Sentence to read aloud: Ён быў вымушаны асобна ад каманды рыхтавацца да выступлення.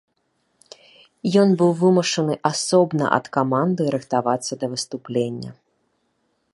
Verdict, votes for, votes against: accepted, 2, 0